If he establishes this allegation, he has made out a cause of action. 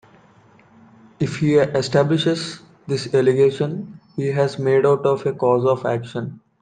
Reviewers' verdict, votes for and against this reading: rejected, 1, 2